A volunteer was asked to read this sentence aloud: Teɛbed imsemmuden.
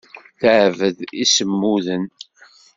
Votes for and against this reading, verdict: 1, 2, rejected